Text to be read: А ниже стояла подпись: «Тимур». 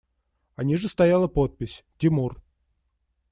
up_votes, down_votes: 2, 0